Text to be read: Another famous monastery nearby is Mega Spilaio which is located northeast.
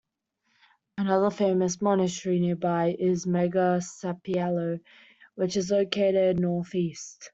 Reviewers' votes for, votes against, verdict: 1, 2, rejected